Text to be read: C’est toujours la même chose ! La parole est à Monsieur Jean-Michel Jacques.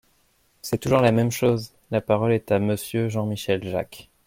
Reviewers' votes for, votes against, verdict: 2, 0, accepted